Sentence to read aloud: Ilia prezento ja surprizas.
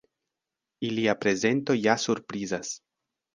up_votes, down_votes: 2, 0